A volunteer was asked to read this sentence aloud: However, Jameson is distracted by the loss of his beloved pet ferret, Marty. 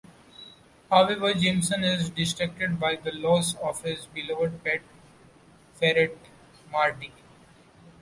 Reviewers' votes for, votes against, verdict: 0, 2, rejected